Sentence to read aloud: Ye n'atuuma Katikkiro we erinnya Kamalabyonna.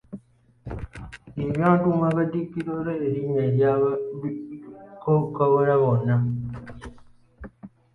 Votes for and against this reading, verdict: 1, 2, rejected